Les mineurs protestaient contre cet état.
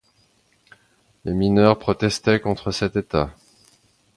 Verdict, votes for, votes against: accepted, 2, 0